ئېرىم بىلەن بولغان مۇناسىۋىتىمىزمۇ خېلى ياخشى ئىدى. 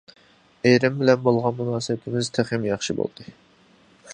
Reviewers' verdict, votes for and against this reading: rejected, 0, 2